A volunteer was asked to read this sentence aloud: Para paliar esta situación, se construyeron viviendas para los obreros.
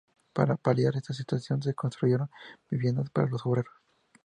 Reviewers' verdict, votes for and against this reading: accepted, 2, 0